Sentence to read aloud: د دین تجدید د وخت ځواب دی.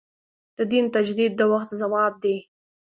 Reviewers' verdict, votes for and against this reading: accepted, 3, 0